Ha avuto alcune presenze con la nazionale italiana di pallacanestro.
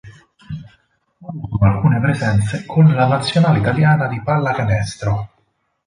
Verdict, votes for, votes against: rejected, 0, 4